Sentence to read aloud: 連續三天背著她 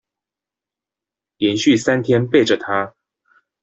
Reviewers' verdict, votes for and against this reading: rejected, 1, 2